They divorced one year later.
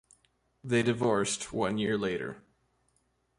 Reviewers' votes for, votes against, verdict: 2, 0, accepted